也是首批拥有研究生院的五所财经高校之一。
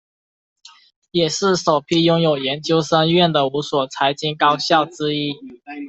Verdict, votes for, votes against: accepted, 2, 1